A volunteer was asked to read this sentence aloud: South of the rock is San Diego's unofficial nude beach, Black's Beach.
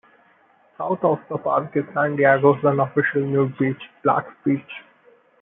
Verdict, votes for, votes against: rejected, 0, 2